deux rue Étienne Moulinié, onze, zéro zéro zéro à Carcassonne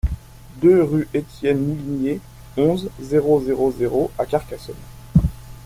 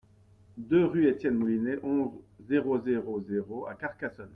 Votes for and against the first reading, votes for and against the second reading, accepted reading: 2, 1, 0, 2, first